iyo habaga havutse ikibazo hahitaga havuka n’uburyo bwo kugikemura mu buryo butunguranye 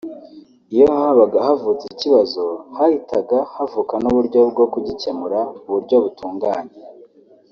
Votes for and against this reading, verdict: 2, 3, rejected